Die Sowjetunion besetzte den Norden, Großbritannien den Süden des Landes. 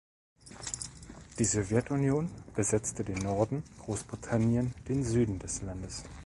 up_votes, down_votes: 2, 0